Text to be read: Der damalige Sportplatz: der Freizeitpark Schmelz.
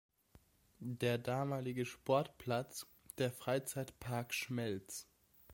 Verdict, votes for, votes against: accepted, 2, 0